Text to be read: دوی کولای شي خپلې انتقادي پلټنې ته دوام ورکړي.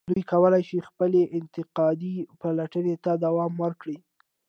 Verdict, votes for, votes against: accepted, 2, 0